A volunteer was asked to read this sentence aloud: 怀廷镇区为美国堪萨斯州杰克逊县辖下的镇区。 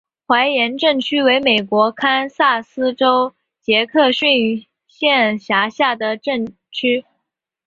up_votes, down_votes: 1, 2